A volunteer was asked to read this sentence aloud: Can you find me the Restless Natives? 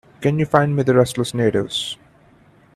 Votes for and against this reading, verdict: 2, 0, accepted